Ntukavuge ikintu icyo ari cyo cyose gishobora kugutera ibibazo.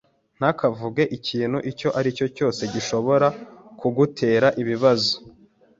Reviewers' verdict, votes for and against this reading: rejected, 1, 2